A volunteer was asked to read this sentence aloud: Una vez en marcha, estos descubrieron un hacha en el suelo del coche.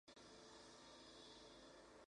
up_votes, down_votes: 0, 4